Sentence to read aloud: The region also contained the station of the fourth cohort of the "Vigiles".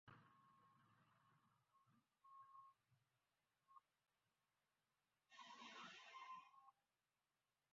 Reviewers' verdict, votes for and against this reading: rejected, 0, 2